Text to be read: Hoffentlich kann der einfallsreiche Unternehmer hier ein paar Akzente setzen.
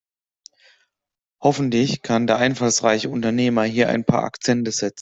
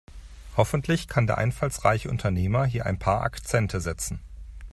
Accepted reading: second